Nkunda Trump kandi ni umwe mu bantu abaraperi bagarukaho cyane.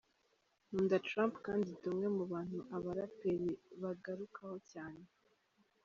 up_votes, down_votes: 1, 2